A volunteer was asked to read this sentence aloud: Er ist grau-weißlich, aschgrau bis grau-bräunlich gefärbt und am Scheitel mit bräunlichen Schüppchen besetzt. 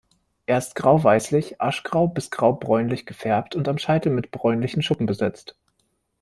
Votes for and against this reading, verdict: 1, 2, rejected